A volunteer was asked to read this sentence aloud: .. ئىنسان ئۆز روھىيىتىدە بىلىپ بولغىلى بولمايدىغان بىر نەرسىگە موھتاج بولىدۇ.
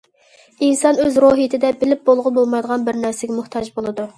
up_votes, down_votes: 2, 0